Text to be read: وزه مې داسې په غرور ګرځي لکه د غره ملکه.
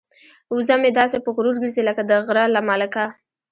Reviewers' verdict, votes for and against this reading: accepted, 2, 0